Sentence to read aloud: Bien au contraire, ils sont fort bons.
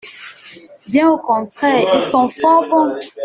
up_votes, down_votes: 1, 2